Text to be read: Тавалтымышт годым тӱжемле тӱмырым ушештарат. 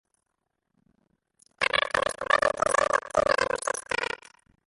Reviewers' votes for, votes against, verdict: 0, 2, rejected